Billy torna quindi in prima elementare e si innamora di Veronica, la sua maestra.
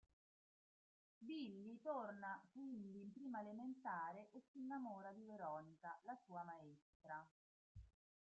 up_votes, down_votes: 1, 2